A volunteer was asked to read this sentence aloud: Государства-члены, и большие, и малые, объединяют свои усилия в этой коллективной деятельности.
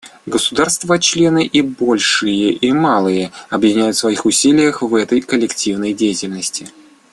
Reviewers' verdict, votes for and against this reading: rejected, 0, 2